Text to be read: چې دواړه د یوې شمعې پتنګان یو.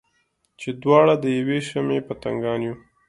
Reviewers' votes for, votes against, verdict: 2, 0, accepted